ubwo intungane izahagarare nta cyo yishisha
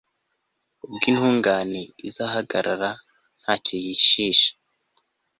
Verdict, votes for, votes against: accepted, 2, 0